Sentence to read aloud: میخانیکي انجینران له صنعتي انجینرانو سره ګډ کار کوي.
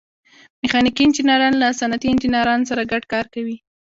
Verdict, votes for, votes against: rejected, 1, 2